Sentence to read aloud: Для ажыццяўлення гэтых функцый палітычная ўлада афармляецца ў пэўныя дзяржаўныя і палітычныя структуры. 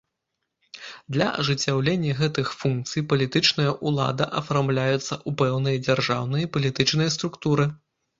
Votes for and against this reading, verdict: 2, 0, accepted